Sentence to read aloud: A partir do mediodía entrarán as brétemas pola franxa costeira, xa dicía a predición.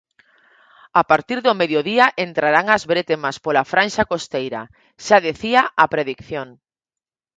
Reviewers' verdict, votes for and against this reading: rejected, 2, 4